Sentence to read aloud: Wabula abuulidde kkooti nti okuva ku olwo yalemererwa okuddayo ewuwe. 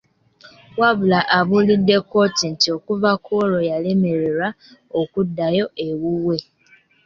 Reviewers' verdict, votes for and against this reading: accepted, 2, 0